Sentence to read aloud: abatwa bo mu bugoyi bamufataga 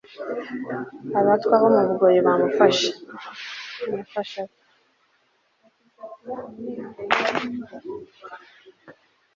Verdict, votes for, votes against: rejected, 1, 2